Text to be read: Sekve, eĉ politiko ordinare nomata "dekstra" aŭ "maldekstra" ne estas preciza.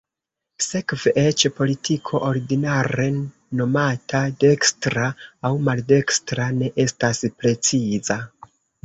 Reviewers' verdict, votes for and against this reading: accepted, 2, 1